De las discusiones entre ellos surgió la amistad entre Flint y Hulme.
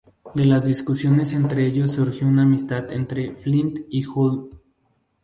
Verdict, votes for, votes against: rejected, 2, 2